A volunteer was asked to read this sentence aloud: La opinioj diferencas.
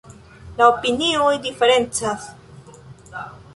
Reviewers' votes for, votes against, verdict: 2, 0, accepted